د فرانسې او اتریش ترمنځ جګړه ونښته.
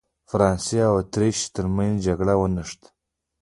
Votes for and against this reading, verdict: 0, 2, rejected